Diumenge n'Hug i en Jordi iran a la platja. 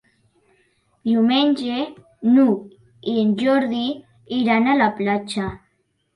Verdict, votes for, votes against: accepted, 4, 0